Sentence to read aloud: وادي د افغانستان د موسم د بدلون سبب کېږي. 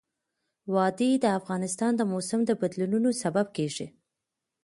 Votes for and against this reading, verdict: 2, 0, accepted